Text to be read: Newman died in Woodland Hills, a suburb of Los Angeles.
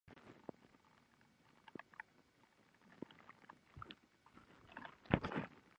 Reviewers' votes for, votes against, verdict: 0, 2, rejected